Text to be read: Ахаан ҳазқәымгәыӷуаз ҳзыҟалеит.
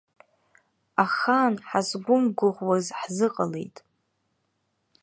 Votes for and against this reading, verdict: 0, 2, rejected